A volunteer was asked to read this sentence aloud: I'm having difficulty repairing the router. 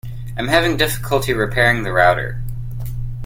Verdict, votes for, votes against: accepted, 2, 0